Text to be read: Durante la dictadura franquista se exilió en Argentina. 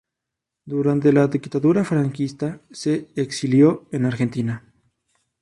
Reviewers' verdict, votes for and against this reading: rejected, 2, 2